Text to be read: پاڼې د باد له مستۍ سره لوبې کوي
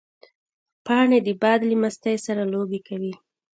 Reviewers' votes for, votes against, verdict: 2, 0, accepted